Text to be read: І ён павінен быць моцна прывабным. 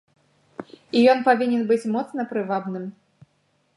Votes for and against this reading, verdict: 3, 0, accepted